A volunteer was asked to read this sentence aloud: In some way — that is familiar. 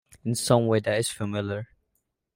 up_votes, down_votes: 1, 2